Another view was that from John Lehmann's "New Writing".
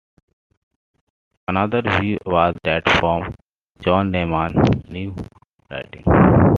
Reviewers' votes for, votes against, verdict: 2, 0, accepted